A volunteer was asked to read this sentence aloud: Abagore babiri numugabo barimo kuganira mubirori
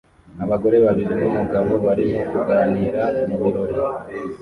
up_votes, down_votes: 2, 0